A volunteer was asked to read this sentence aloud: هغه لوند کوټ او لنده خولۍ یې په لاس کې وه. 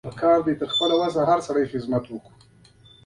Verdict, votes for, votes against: rejected, 0, 2